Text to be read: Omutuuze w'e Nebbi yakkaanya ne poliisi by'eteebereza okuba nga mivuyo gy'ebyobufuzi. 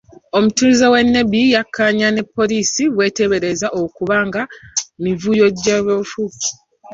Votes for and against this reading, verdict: 2, 1, accepted